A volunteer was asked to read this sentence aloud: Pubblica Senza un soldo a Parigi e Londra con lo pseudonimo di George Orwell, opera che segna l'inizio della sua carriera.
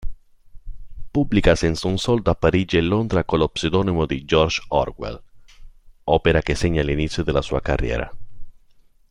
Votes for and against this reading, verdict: 2, 0, accepted